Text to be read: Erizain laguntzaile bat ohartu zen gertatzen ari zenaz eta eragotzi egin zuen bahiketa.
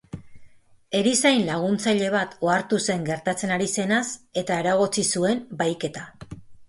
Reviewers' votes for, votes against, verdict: 0, 2, rejected